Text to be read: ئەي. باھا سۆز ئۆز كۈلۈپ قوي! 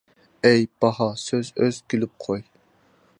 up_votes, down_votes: 2, 0